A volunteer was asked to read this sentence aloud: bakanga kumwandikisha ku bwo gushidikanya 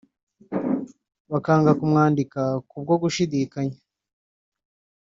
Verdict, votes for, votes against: rejected, 0, 2